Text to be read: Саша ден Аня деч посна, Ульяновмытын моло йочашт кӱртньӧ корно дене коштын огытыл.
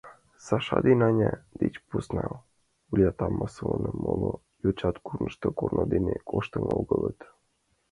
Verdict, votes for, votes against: rejected, 1, 2